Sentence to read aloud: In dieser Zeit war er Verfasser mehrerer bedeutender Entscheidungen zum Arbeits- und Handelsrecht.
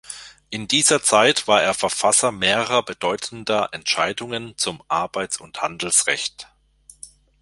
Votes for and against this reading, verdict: 2, 0, accepted